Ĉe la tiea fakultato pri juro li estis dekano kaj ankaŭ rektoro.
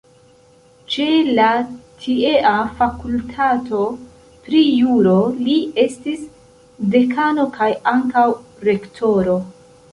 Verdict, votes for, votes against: accepted, 2, 0